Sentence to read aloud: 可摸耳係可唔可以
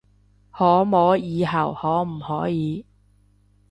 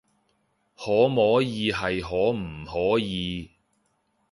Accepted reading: second